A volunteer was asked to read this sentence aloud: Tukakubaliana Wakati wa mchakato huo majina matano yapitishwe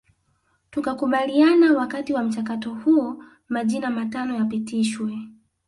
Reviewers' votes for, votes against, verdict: 2, 0, accepted